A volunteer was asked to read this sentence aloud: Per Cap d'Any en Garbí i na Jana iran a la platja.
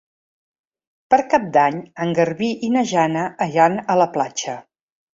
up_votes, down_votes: 0, 2